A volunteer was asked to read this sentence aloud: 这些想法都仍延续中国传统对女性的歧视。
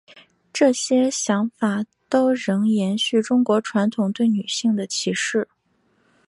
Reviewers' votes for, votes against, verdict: 3, 1, accepted